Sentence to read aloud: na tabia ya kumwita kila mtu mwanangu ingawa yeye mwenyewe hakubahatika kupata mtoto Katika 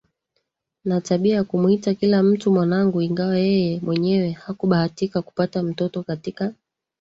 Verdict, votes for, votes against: rejected, 0, 2